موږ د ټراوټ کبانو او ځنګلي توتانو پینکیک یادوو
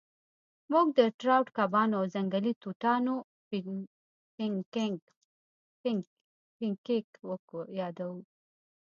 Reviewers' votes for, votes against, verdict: 0, 2, rejected